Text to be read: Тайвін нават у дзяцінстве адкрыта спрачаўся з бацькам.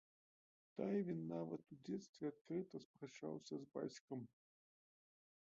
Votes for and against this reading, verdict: 0, 2, rejected